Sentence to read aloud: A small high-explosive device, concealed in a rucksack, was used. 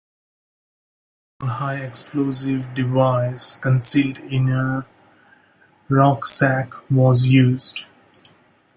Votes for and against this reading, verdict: 1, 2, rejected